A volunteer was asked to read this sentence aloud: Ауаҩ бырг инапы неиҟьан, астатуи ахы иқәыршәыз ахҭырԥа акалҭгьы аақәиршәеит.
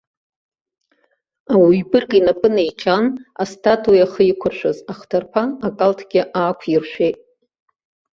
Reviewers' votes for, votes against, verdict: 2, 0, accepted